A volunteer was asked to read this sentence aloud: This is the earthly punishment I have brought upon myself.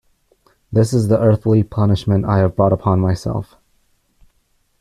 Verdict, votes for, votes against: accepted, 2, 0